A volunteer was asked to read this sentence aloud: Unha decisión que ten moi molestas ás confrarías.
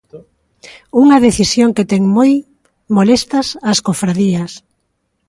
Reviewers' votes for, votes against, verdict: 1, 2, rejected